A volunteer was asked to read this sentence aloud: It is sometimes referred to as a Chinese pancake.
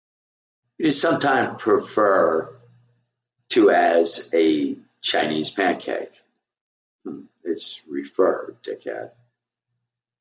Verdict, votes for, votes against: rejected, 0, 2